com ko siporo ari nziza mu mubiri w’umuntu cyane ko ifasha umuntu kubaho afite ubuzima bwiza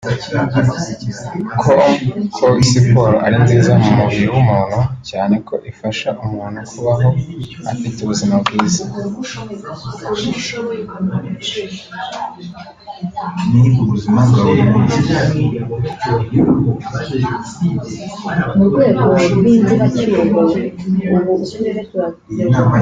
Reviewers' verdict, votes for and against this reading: rejected, 1, 2